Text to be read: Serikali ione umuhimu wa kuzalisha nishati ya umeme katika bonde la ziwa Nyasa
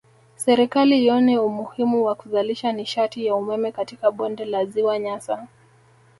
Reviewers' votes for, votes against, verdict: 2, 0, accepted